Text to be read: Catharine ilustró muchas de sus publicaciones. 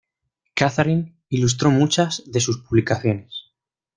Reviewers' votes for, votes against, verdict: 2, 0, accepted